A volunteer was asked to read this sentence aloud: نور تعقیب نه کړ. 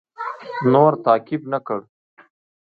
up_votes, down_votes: 2, 0